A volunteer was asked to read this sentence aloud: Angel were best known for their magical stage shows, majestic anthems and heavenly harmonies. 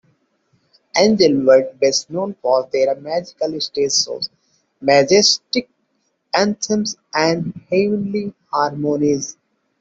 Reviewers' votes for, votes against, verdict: 2, 0, accepted